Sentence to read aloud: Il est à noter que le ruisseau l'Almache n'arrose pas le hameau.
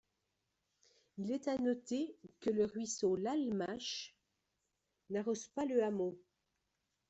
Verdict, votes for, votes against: accepted, 2, 0